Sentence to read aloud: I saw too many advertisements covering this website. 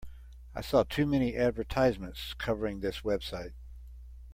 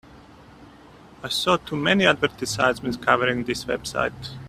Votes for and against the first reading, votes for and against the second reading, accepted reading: 2, 0, 1, 2, first